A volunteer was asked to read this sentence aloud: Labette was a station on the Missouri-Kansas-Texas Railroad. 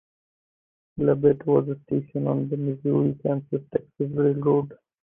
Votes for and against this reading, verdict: 0, 2, rejected